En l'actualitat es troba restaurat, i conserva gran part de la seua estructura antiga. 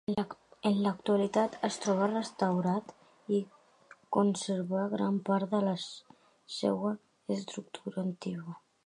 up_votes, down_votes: 1, 2